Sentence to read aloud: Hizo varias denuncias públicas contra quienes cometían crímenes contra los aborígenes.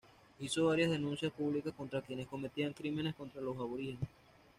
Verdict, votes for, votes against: accepted, 2, 0